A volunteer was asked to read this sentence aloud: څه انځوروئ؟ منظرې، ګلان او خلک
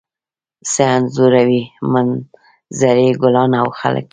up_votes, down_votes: 2, 1